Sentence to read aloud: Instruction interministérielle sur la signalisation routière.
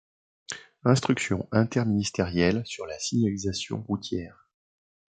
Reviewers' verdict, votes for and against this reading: accepted, 2, 1